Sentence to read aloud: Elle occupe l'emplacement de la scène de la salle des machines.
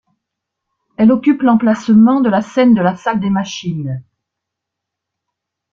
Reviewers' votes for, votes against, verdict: 2, 0, accepted